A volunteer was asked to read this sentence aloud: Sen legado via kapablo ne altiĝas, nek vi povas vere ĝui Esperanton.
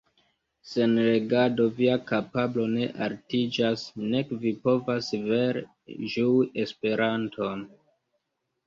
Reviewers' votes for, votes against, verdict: 0, 2, rejected